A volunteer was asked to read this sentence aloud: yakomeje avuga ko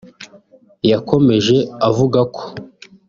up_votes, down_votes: 2, 0